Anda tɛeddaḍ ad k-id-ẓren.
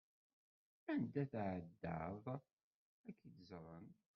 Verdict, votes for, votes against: rejected, 0, 2